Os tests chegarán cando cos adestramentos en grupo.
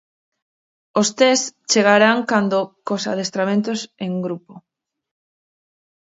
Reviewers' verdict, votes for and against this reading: rejected, 2, 2